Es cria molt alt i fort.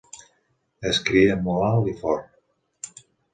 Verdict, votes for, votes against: accepted, 3, 0